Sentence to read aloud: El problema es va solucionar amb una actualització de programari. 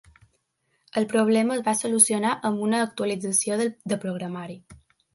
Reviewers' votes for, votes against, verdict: 0, 2, rejected